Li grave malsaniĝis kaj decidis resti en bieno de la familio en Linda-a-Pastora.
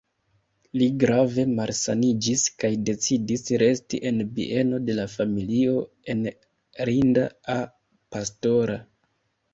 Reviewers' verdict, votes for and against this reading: rejected, 0, 2